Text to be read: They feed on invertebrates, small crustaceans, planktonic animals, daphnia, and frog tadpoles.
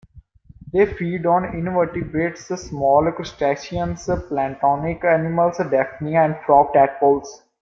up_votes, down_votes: 0, 2